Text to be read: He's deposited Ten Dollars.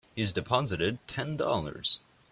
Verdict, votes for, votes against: accepted, 3, 0